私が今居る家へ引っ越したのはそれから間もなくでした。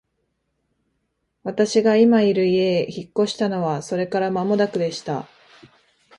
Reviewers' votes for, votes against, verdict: 2, 0, accepted